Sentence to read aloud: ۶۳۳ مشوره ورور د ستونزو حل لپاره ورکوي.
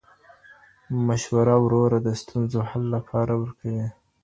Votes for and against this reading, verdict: 0, 2, rejected